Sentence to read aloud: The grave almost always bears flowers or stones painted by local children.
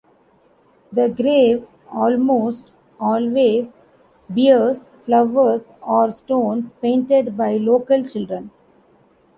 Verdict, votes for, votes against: rejected, 1, 2